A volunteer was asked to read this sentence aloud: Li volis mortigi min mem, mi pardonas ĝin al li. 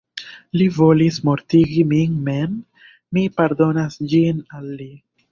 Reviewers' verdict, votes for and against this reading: rejected, 0, 2